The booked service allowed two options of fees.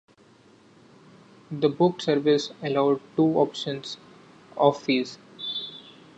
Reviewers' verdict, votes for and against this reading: accepted, 2, 0